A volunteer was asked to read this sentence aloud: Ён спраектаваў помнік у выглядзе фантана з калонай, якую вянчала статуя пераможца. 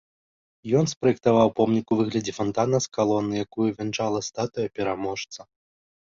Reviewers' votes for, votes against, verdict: 3, 0, accepted